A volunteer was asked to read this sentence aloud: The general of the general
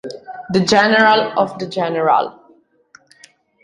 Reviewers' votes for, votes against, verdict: 2, 0, accepted